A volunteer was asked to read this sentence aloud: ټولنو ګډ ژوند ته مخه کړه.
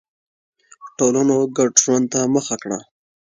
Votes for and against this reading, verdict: 2, 0, accepted